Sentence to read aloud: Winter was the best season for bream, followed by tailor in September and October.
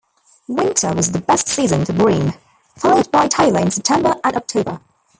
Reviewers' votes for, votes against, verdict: 1, 2, rejected